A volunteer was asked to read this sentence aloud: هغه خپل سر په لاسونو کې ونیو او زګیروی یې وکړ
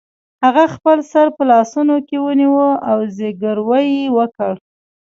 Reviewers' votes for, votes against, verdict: 1, 2, rejected